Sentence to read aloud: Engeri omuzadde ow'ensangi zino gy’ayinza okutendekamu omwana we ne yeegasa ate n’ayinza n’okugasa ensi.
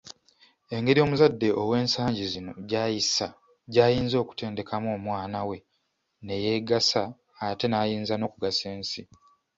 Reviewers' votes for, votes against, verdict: 0, 2, rejected